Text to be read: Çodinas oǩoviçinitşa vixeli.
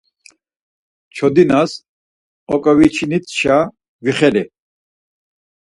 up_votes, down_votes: 4, 0